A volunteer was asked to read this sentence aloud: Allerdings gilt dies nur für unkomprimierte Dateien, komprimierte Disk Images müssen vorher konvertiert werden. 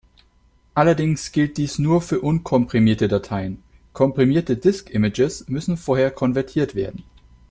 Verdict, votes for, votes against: accepted, 2, 0